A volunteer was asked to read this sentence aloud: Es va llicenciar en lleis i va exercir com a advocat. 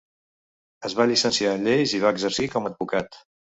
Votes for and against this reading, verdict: 2, 0, accepted